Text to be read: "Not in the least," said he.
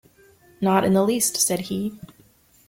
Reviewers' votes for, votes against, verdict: 2, 0, accepted